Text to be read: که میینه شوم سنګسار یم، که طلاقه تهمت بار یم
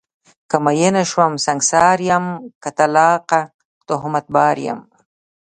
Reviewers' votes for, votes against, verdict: 2, 0, accepted